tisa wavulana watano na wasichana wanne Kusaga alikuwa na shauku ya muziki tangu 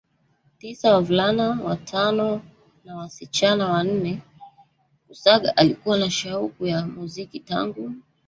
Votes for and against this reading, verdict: 0, 2, rejected